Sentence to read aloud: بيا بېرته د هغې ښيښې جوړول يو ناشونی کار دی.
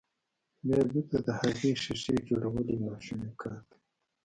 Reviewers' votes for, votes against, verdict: 2, 0, accepted